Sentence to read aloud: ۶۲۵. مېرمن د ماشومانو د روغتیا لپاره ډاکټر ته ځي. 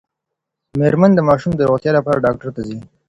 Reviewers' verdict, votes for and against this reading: rejected, 0, 2